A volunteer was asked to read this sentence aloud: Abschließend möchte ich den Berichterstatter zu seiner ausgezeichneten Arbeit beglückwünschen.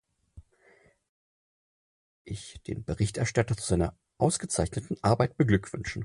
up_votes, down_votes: 0, 4